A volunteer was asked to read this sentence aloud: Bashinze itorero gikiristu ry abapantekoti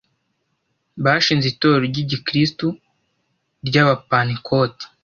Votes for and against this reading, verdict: 1, 2, rejected